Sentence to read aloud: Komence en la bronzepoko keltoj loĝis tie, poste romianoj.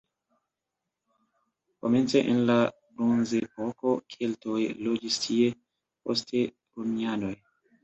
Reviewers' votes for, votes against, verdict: 2, 1, accepted